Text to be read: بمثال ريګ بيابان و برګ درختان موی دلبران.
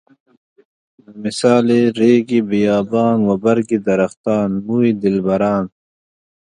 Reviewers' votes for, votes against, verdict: 0, 2, rejected